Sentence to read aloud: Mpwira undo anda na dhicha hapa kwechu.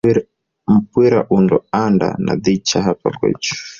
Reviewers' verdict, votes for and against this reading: rejected, 1, 3